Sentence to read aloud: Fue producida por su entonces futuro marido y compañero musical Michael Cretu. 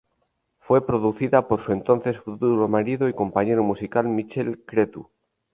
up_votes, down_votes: 0, 2